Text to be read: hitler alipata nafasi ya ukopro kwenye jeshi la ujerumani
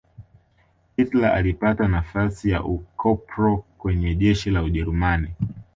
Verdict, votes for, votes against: accepted, 2, 1